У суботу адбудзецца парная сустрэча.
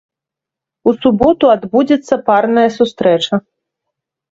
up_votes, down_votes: 3, 0